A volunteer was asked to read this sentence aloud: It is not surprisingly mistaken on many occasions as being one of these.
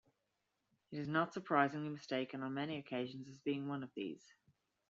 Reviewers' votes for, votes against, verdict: 2, 0, accepted